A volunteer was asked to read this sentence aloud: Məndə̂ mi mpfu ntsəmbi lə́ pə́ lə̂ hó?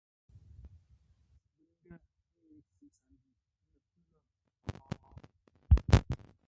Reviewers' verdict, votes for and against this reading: rejected, 0, 2